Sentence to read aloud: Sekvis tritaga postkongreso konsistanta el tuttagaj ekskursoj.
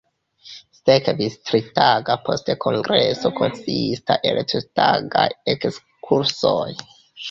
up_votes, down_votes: 1, 2